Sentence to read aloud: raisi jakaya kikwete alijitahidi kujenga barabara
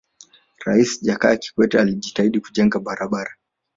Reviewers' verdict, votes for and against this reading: accepted, 2, 1